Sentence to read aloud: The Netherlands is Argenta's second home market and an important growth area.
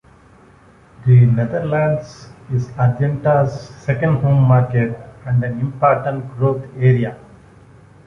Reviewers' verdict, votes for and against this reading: rejected, 1, 2